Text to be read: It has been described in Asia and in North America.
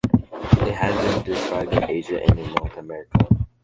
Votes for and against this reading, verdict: 0, 2, rejected